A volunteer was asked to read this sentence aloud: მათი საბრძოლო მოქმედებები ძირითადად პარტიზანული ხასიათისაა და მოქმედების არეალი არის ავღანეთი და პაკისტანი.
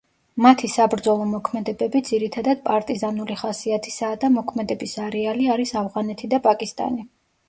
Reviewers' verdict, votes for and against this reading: rejected, 1, 2